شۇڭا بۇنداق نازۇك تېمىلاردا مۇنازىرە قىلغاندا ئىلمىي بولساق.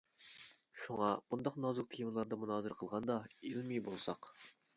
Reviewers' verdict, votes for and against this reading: accepted, 2, 0